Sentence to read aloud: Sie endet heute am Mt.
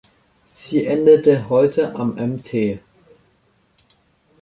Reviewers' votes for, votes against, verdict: 1, 2, rejected